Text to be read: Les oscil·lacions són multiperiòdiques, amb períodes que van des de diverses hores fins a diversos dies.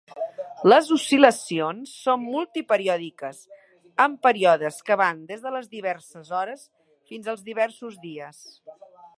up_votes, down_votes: 0, 2